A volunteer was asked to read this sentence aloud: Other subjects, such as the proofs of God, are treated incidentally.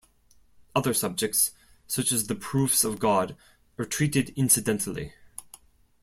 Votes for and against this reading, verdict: 2, 0, accepted